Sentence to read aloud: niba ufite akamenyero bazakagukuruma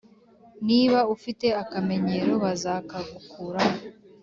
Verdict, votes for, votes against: accepted, 2, 0